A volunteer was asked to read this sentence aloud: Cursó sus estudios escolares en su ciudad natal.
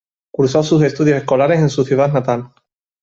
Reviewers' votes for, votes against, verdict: 2, 0, accepted